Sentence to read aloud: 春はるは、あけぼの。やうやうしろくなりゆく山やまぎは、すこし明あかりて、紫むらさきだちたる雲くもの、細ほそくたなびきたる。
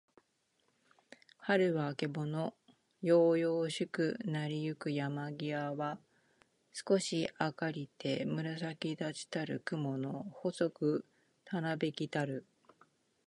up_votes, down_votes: 2, 0